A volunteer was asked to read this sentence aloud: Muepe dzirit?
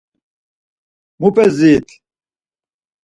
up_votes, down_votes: 2, 4